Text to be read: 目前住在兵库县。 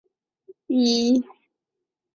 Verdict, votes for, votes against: rejected, 0, 4